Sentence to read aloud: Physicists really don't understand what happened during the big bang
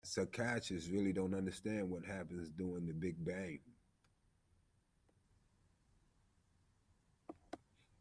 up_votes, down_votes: 0, 2